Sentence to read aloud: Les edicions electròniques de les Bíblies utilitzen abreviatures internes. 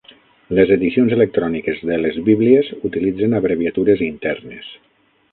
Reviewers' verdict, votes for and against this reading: accepted, 9, 0